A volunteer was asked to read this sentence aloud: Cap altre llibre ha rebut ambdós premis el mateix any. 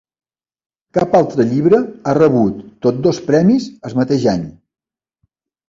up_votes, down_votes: 0, 2